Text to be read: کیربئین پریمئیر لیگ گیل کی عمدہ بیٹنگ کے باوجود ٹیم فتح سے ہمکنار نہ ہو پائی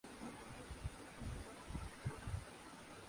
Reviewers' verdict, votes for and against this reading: rejected, 1, 3